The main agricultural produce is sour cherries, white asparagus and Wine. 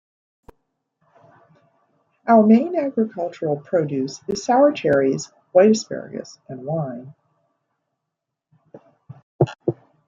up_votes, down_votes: 0, 2